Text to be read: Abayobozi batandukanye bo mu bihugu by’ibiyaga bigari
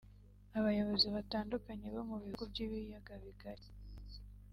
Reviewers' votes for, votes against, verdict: 2, 0, accepted